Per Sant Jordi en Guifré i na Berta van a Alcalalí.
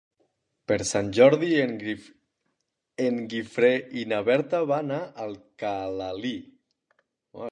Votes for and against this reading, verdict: 0, 2, rejected